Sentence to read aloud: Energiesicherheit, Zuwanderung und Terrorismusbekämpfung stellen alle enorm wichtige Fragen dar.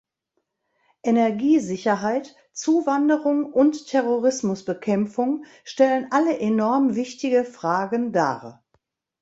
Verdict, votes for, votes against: accepted, 2, 0